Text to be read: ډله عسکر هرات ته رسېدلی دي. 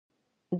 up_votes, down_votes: 1, 2